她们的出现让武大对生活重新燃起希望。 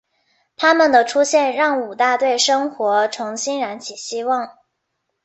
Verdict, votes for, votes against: accepted, 3, 1